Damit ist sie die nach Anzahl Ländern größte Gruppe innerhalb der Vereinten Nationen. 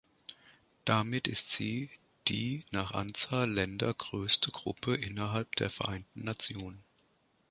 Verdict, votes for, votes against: rejected, 0, 2